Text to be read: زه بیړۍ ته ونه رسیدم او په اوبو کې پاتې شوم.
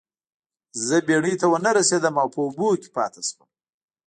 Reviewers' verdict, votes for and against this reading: accepted, 2, 0